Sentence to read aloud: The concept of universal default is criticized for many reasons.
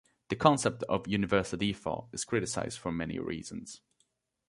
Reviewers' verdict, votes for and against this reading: accepted, 2, 0